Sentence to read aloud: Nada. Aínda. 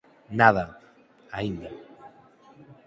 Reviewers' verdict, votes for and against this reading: accepted, 6, 0